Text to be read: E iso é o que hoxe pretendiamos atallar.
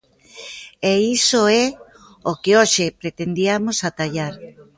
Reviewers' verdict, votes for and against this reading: accepted, 2, 0